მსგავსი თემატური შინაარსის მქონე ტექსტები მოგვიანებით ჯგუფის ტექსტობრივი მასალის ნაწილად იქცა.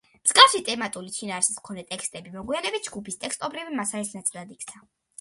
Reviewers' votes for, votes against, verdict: 2, 0, accepted